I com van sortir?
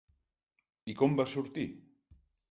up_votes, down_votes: 1, 2